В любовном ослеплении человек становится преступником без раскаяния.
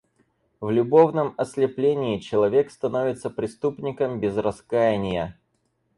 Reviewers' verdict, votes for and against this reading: accepted, 4, 0